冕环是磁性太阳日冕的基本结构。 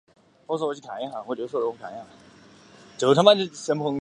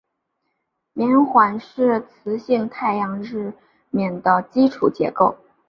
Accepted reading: second